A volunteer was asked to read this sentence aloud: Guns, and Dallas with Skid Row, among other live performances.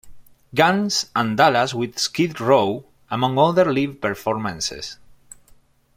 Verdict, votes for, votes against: accepted, 2, 1